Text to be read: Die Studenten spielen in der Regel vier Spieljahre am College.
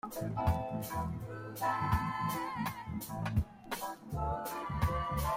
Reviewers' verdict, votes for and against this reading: rejected, 0, 2